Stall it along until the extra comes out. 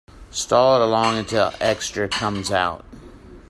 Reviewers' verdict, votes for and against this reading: rejected, 1, 3